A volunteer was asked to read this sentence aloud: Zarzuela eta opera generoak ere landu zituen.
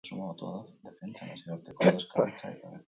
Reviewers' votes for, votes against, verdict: 0, 4, rejected